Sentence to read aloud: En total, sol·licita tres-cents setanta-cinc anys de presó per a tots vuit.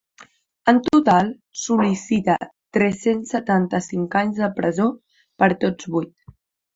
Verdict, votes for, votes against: rejected, 1, 2